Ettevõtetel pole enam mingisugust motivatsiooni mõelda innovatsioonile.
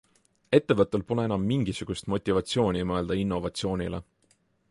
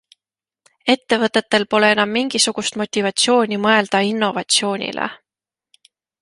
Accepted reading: second